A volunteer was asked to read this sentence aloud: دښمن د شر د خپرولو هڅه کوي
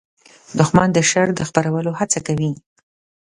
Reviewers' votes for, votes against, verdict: 2, 0, accepted